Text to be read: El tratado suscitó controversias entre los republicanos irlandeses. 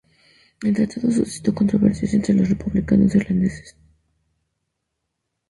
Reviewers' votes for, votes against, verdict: 0, 2, rejected